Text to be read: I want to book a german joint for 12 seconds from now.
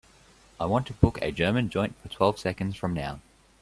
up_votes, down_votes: 0, 2